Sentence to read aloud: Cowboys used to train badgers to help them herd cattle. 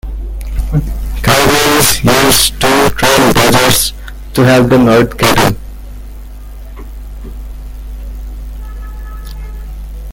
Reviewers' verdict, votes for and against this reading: rejected, 0, 2